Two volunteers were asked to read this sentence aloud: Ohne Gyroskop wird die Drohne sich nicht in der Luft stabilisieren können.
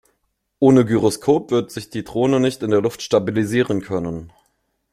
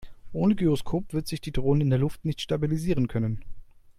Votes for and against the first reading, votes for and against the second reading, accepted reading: 2, 1, 1, 2, first